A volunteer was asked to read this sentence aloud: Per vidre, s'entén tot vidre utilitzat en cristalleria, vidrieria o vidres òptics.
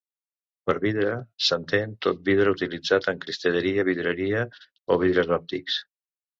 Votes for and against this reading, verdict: 1, 2, rejected